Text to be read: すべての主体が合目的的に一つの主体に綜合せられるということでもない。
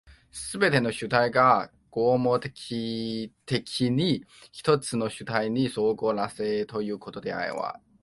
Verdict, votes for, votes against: rejected, 0, 2